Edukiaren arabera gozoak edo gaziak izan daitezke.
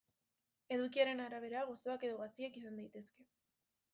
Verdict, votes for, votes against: accepted, 2, 1